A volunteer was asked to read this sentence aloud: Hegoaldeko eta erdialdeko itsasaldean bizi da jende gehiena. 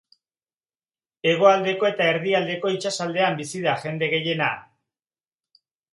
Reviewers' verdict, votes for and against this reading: accepted, 3, 0